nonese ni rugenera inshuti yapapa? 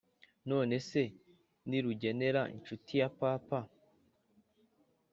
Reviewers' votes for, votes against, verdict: 2, 0, accepted